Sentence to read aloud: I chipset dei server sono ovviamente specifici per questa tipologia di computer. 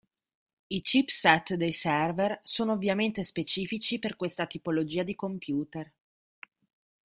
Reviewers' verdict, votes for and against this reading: accepted, 2, 0